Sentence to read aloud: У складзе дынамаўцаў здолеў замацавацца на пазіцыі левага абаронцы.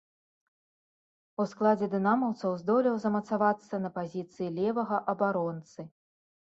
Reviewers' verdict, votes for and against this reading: accepted, 2, 0